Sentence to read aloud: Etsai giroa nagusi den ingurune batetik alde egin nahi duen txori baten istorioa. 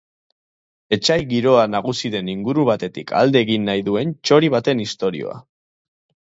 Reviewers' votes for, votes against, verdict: 0, 2, rejected